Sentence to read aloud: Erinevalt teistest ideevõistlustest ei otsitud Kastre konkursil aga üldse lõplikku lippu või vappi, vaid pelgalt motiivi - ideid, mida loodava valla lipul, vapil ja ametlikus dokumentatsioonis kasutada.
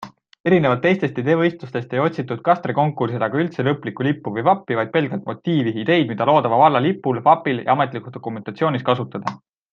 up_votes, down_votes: 2, 0